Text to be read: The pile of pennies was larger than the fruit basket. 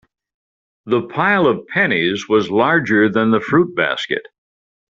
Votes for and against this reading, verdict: 3, 0, accepted